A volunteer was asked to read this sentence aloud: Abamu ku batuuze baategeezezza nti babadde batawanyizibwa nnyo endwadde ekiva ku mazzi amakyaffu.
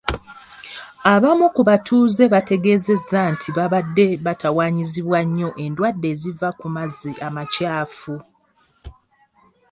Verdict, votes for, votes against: rejected, 1, 2